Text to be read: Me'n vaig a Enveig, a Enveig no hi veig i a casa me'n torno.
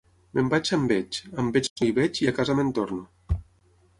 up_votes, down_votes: 6, 0